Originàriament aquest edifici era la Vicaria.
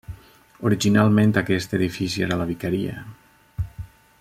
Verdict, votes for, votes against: rejected, 0, 2